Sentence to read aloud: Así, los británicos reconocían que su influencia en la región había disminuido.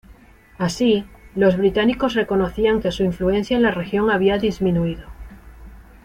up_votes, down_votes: 2, 0